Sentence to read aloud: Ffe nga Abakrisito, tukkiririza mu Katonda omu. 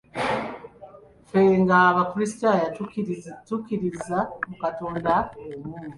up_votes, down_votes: 1, 2